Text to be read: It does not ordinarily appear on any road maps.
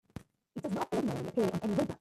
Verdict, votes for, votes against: rejected, 0, 2